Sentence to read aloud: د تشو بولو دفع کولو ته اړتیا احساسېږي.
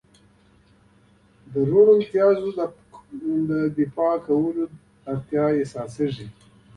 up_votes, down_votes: 2, 1